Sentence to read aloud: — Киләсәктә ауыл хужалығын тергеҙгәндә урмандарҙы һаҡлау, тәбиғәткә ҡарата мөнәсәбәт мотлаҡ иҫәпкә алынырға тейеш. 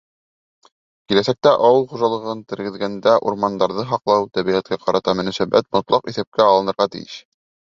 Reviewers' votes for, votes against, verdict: 3, 0, accepted